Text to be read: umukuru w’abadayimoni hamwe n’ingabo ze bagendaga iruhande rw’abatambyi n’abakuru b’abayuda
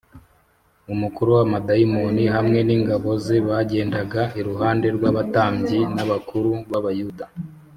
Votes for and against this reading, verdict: 3, 0, accepted